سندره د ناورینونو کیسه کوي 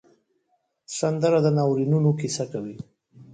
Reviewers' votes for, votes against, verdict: 3, 0, accepted